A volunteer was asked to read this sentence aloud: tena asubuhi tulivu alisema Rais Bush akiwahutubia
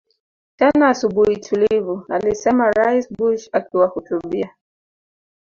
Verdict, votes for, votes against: accepted, 3, 1